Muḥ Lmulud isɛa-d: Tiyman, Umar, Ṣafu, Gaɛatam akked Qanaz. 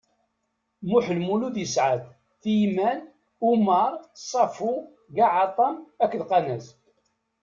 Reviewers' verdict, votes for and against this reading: accepted, 2, 0